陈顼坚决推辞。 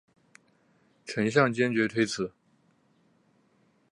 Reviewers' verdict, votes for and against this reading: accepted, 2, 0